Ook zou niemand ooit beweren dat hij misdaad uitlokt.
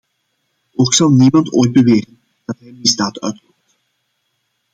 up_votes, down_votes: 0, 2